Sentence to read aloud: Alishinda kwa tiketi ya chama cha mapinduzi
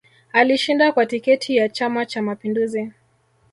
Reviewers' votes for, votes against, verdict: 4, 0, accepted